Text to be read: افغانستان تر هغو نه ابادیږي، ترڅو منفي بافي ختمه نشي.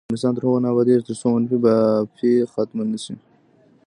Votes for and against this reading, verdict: 0, 2, rejected